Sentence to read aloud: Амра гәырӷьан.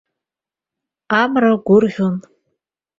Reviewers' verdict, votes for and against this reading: rejected, 1, 2